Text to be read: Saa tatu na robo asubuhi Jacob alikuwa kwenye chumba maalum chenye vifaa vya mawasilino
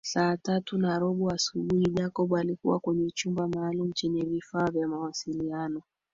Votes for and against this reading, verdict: 2, 3, rejected